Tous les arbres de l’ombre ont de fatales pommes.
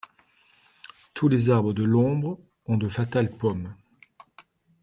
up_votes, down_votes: 2, 0